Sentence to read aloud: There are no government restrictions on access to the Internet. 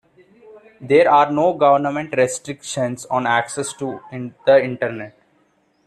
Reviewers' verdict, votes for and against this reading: rejected, 1, 2